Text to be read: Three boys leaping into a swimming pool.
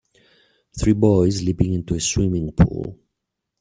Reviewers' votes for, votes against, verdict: 2, 0, accepted